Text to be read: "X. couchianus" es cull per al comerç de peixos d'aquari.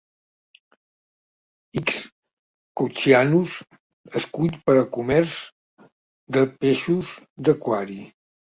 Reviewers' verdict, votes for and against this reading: rejected, 0, 2